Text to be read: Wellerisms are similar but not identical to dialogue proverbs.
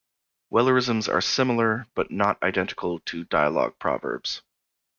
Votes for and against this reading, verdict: 2, 0, accepted